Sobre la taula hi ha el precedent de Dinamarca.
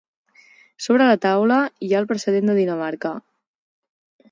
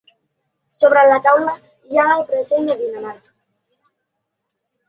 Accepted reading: first